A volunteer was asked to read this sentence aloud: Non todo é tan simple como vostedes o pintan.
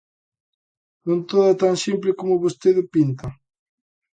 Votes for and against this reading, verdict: 0, 2, rejected